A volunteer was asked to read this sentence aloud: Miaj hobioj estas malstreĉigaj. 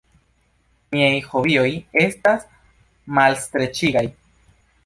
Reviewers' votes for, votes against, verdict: 1, 2, rejected